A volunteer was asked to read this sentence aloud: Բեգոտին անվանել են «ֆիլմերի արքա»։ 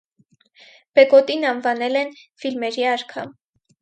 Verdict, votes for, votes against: accepted, 4, 0